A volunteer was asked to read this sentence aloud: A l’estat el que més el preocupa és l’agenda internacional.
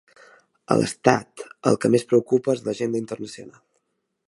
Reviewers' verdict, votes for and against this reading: rejected, 0, 2